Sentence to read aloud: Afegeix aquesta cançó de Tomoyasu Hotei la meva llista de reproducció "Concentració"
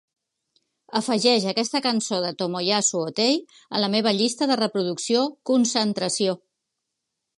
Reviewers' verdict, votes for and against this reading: rejected, 0, 2